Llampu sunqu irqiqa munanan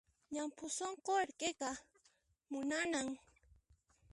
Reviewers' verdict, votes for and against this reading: rejected, 1, 2